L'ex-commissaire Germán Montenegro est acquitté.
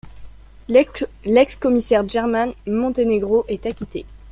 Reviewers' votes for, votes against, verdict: 0, 2, rejected